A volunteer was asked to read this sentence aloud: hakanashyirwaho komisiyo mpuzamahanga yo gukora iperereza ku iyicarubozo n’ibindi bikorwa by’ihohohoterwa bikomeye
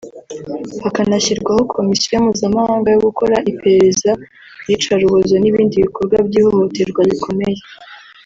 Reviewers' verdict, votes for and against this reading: rejected, 1, 2